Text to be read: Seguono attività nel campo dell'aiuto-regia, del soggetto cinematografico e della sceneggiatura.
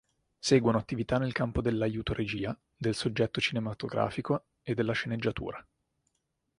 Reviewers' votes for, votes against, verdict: 4, 0, accepted